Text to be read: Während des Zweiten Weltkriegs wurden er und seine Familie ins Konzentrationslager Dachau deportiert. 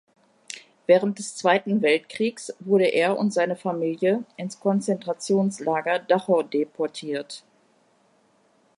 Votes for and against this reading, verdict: 1, 2, rejected